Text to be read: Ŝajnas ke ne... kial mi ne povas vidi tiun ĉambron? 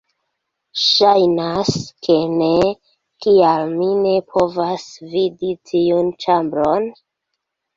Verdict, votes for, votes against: rejected, 0, 2